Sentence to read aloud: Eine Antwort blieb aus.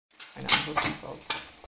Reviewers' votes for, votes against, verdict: 1, 2, rejected